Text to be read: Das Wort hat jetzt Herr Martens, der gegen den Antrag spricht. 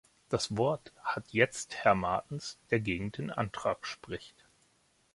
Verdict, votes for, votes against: accepted, 2, 0